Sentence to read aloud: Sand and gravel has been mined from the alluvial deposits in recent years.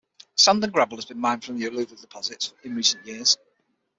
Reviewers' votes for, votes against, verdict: 0, 6, rejected